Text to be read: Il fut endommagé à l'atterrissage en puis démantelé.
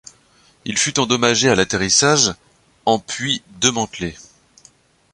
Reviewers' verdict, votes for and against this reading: rejected, 1, 2